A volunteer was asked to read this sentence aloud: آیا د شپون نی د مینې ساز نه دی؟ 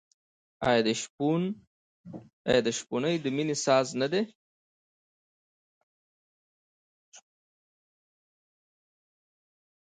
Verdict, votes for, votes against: accepted, 2, 0